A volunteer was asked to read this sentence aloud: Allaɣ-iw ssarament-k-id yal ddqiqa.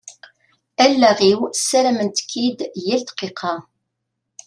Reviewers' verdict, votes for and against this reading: accepted, 2, 0